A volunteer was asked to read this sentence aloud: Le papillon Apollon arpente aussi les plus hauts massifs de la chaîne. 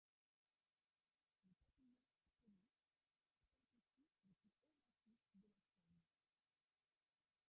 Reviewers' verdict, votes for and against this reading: rejected, 0, 2